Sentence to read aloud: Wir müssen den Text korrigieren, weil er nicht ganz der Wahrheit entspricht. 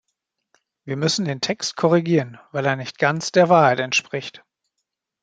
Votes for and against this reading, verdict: 2, 0, accepted